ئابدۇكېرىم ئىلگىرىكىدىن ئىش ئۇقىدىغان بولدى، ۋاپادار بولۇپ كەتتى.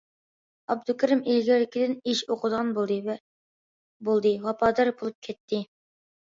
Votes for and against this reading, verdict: 0, 2, rejected